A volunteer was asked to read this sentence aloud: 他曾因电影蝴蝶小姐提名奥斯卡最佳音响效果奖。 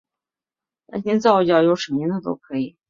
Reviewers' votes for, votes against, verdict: 0, 6, rejected